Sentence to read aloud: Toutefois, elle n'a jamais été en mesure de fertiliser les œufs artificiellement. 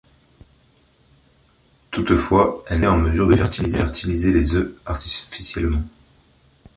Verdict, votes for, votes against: rejected, 0, 2